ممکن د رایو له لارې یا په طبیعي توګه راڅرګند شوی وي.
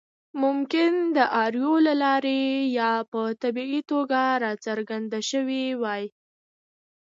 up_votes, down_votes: 2, 0